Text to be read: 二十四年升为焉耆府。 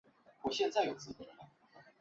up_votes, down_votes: 1, 2